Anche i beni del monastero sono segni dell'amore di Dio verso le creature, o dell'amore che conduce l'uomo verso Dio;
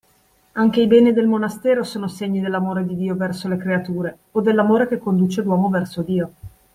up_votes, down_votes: 2, 0